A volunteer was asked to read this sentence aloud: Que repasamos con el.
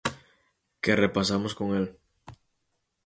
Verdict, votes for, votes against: accepted, 4, 0